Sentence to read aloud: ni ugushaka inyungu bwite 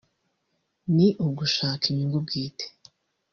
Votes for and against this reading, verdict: 1, 2, rejected